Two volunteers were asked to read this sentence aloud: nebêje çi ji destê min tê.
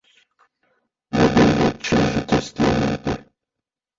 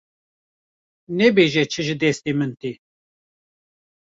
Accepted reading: second